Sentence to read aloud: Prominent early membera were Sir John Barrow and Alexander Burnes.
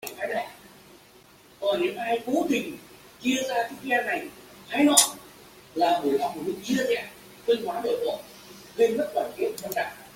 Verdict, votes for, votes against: rejected, 0, 2